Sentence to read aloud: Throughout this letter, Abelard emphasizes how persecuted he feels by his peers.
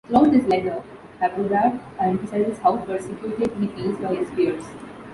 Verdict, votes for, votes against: rejected, 1, 2